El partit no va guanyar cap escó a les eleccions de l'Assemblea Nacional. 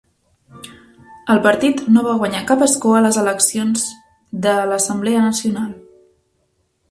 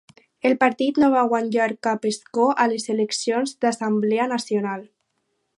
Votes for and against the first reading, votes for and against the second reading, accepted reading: 3, 0, 2, 4, first